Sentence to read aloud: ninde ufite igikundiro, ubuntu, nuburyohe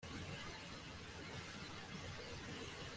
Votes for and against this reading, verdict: 0, 2, rejected